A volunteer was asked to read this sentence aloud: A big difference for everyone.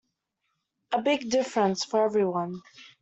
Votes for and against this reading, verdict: 2, 0, accepted